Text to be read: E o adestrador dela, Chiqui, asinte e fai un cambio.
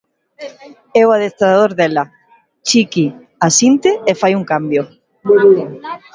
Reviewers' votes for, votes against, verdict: 1, 2, rejected